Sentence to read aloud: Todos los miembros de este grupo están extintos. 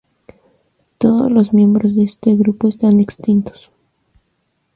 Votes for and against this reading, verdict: 2, 0, accepted